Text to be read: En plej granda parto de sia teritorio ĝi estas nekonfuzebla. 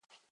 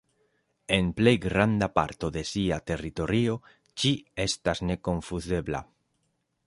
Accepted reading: second